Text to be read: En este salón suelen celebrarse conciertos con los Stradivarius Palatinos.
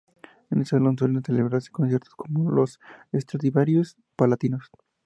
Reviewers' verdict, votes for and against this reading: accepted, 2, 0